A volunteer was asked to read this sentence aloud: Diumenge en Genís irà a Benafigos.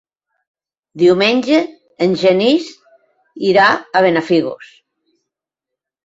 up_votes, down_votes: 2, 0